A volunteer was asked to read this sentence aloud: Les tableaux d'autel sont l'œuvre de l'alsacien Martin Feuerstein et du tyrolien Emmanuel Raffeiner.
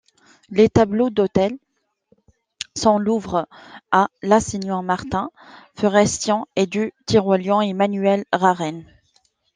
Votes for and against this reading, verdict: 1, 2, rejected